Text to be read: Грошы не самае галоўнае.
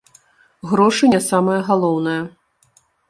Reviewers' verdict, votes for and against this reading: rejected, 0, 2